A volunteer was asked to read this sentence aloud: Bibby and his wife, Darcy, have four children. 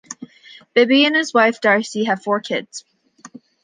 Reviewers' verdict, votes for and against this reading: rejected, 0, 2